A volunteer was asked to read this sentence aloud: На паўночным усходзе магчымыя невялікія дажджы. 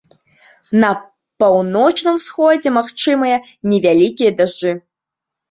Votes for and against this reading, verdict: 1, 2, rejected